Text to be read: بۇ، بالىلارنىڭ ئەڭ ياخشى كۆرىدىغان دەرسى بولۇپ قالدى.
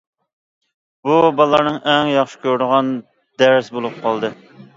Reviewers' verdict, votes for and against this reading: accepted, 2, 0